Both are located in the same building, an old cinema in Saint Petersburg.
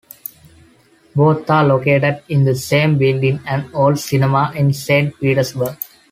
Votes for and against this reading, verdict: 2, 0, accepted